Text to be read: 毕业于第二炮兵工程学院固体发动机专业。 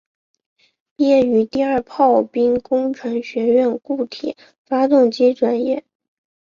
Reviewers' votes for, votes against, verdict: 5, 0, accepted